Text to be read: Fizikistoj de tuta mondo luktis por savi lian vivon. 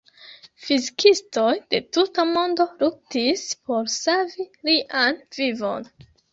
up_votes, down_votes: 0, 2